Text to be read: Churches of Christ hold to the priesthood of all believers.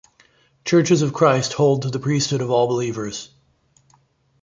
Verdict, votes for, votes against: rejected, 0, 2